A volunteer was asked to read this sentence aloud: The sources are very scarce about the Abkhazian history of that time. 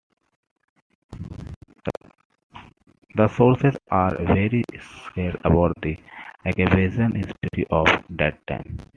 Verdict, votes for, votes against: rejected, 1, 2